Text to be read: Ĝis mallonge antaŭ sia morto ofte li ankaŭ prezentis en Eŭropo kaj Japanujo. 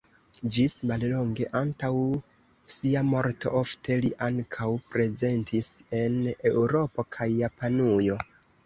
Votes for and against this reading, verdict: 2, 1, accepted